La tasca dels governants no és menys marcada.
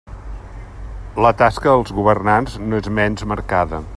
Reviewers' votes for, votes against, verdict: 2, 0, accepted